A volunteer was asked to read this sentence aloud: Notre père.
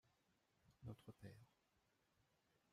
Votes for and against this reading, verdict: 0, 2, rejected